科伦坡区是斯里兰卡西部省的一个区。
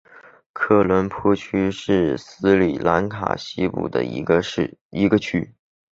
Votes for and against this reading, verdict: 1, 2, rejected